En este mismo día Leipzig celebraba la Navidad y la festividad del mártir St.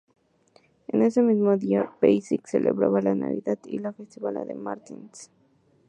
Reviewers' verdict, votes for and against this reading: rejected, 0, 2